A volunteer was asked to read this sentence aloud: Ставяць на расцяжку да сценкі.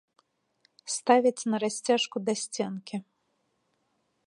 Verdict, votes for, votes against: accepted, 2, 1